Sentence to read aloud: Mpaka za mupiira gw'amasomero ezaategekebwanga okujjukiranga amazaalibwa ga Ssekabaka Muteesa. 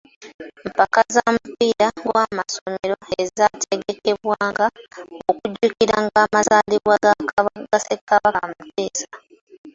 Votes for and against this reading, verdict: 0, 2, rejected